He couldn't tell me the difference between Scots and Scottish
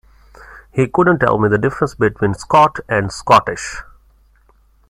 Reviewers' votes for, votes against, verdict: 0, 2, rejected